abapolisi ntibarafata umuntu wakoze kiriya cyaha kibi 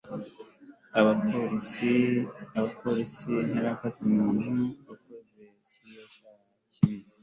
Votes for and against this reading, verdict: 1, 2, rejected